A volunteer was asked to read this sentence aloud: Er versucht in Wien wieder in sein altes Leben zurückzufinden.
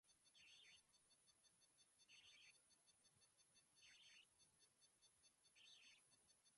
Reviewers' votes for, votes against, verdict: 0, 3, rejected